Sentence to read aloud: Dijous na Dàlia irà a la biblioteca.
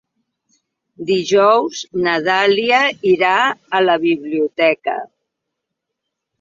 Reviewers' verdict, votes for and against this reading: accepted, 3, 0